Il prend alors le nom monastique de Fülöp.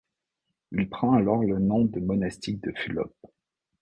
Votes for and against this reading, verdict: 1, 2, rejected